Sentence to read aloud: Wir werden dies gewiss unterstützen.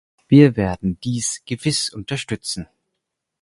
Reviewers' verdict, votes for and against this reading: accepted, 4, 0